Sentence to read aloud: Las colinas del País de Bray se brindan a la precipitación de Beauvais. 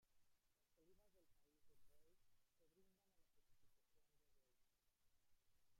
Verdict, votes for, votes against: rejected, 1, 2